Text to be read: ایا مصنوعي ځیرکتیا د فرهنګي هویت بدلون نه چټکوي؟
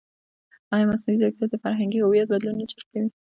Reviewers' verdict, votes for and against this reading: rejected, 0, 2